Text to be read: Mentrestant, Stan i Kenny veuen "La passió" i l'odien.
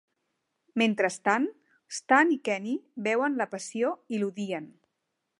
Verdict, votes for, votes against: rejected, 1, 2